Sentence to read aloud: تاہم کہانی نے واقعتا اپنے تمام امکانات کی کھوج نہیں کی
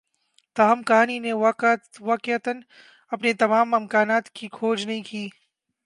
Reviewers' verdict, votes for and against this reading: accepted, 10, 2